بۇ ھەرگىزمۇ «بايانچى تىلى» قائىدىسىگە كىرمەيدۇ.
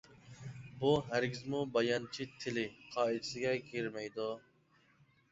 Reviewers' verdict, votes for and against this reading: accepted, 2, 0